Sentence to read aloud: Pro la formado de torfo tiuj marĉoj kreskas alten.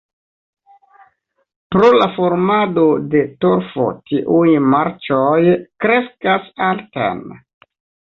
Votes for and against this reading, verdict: 1, 2, rejected